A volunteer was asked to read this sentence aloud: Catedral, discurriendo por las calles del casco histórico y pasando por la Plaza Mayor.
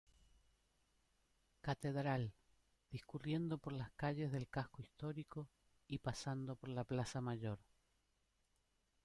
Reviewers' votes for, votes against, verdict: 2, 0, accepted